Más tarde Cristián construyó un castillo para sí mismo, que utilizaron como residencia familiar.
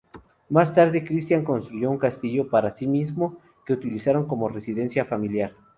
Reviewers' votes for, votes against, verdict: 0, 2, rejected